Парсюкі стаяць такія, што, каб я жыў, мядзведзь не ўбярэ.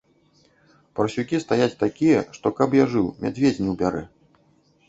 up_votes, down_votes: 2, 0